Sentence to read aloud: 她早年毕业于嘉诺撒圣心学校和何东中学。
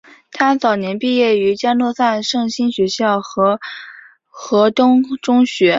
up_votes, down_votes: 3, 0